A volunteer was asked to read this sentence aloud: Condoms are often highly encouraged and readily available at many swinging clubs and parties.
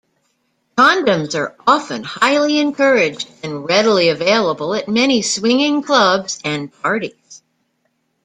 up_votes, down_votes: 2, 0